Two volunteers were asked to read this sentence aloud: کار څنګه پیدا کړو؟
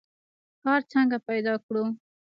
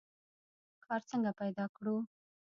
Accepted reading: first